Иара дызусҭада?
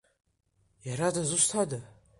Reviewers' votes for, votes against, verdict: 2, 0, accepted